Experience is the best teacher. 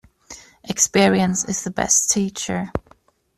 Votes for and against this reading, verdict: 2, 0, accepted